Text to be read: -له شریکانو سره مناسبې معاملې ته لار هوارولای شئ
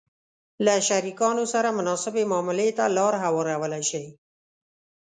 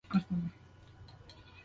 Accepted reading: first